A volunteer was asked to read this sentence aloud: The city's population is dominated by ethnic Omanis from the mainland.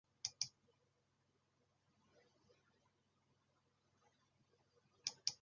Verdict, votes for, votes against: rejected, 0, 2